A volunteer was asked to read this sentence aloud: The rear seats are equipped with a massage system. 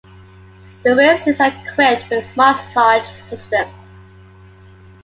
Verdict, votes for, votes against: accepted, 2, 0